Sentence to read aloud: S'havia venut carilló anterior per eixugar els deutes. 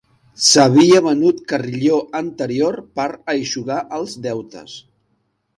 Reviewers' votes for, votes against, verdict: 0, 2, rejected